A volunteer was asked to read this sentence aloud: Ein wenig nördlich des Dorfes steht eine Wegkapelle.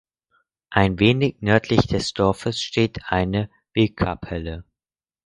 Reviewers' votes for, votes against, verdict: 4, 0, accepted